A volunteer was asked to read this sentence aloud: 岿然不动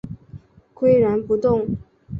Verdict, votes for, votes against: accepted, 3, 0